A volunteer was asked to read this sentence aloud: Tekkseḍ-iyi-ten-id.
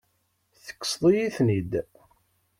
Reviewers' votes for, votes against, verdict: 2, 0, accepted